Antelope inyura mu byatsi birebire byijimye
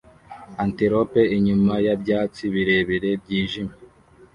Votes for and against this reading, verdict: 1, 2, rejected